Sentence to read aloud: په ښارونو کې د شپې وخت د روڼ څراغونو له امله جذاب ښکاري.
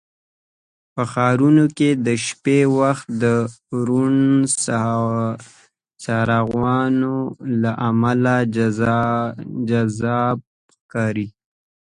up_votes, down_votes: 1, 2